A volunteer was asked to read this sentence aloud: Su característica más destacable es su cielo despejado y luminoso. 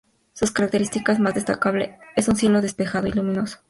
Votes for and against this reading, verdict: 0, 2, rejected